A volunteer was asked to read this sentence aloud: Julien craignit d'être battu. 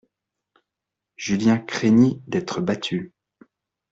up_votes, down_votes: 2, 0